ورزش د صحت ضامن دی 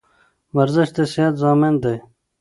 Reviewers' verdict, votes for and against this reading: accepted, 2, 0